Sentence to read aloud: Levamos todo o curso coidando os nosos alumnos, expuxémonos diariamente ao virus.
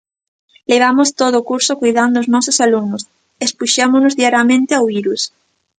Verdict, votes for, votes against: accepted, 2, 0